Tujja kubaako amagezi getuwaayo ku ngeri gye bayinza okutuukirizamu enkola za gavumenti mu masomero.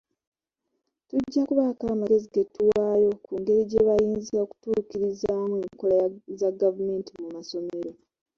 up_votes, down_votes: 1, 2